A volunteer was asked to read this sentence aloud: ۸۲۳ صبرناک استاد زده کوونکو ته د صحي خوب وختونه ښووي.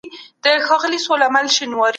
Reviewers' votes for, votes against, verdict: 0, 2, rejected